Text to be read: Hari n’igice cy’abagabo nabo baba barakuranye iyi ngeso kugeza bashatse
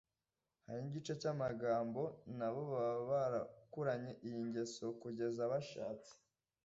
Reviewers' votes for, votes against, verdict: 1, 2, rejected